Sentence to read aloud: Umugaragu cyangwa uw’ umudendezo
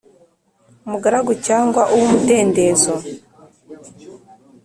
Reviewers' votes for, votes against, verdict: 3, 0, accepted